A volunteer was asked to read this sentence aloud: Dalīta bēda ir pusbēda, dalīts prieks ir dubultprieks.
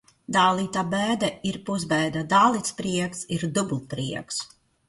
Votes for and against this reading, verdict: 1, 2, rejected